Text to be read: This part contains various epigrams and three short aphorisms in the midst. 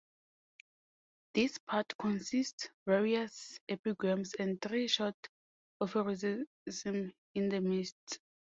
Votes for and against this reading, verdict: 0, 2, rejected